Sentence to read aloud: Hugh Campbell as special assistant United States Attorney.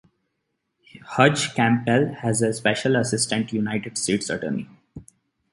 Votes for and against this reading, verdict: 1, 2, rejected